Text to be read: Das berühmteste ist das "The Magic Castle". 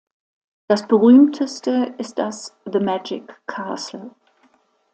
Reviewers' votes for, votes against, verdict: 2, 0, accepted